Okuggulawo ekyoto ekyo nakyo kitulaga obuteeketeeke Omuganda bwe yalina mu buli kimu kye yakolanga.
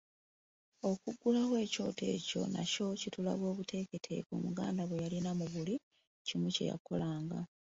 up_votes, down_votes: 2, 0